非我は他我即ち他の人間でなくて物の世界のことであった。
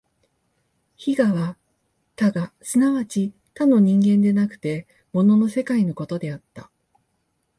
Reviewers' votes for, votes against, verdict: 2, 0, accepted